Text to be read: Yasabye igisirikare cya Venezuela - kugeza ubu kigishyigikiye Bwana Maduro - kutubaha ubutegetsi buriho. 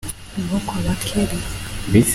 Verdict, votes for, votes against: rejected, 0, 3